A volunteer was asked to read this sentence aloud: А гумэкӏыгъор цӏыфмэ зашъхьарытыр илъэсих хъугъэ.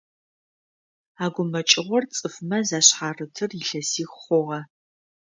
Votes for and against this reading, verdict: 2, 0, accepted